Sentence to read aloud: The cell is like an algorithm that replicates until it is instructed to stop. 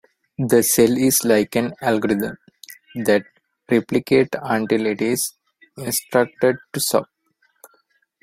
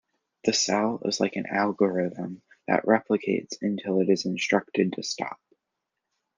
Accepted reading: second